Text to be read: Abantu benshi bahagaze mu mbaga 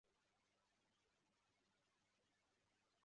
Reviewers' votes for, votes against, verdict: 0, 2, rejected